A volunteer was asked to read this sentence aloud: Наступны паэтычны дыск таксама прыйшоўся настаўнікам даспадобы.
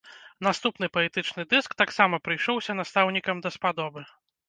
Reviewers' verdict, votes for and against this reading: accepted, 2, 0